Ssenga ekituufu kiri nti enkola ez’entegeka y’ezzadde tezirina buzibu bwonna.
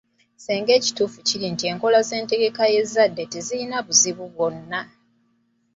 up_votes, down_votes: 7, 0